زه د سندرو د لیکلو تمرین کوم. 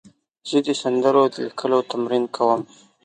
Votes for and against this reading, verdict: 7, 1, accepted